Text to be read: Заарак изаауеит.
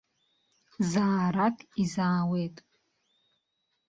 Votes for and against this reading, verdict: 2, 0, accepted